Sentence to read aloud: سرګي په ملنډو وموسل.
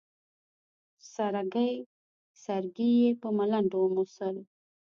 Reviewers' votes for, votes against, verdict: 1, 2, rejected